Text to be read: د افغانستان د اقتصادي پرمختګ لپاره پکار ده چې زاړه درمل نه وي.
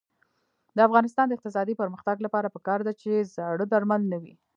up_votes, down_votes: 0, 2